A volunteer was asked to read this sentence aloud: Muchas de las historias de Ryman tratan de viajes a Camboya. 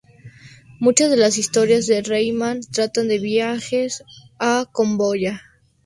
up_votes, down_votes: 0, 2